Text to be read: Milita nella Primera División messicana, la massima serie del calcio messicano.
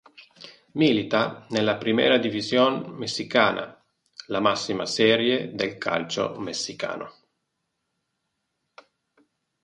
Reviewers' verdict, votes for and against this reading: accepted, 4, 0